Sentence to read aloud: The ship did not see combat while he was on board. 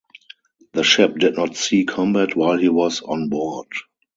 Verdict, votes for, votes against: rejected, 0, 2